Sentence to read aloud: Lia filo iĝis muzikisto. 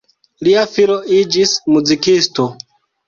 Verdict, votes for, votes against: rejected, 1, 2